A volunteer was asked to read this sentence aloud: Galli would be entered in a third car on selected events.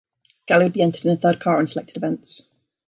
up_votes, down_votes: 0, 2